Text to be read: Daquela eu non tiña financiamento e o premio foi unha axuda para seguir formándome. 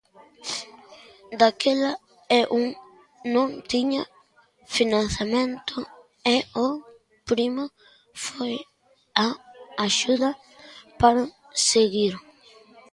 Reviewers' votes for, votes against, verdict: 0, 3, rejected